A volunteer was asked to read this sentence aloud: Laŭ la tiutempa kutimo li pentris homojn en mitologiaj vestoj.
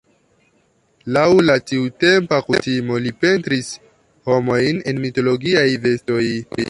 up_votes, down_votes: 0, 2